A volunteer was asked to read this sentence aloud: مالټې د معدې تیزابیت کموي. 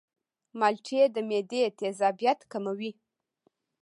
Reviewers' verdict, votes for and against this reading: accepted, 2, 1